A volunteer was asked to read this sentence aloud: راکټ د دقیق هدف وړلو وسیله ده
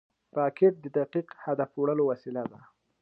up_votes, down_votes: 2, 1